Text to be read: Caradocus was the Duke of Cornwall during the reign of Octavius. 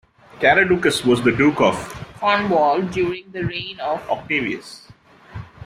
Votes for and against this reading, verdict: 1, 2, rejected